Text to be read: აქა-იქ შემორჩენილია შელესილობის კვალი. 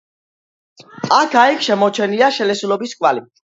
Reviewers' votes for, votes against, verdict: 2, 0, accepted